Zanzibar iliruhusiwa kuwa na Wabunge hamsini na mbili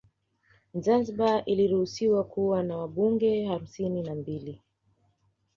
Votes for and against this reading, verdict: 0, 2, rejected